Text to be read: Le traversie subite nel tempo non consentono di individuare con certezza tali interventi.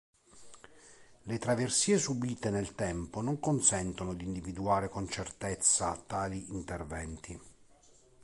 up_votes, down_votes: 2, 0